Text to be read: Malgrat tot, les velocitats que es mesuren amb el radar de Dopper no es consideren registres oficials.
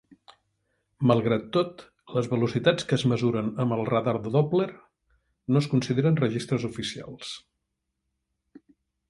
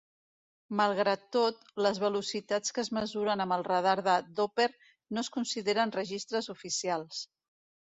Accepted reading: second